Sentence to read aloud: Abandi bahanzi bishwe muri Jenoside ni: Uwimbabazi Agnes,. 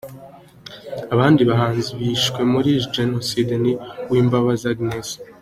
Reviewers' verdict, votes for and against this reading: accepted, 2, 0